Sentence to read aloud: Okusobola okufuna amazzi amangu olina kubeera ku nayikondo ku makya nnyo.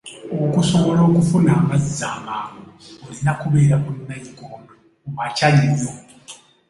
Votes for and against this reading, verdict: 1, 2, rejected